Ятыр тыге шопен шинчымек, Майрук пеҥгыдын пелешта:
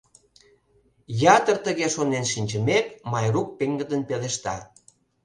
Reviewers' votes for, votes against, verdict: 0, 2, rejected